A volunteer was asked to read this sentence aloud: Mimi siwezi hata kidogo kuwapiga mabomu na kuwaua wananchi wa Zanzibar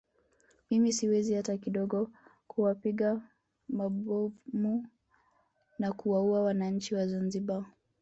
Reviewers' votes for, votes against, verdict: 1, 2, rejected